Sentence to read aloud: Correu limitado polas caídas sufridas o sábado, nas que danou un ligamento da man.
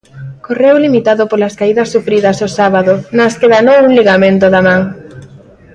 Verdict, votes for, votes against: accepted, 2, 0